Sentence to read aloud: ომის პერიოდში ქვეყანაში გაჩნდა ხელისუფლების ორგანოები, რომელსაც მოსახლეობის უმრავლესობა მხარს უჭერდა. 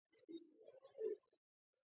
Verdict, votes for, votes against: rejected, 1, 2